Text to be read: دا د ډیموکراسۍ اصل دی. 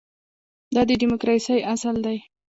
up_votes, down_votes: 2, 1